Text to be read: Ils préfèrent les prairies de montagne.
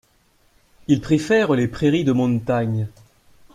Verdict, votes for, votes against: rejected, 1, 2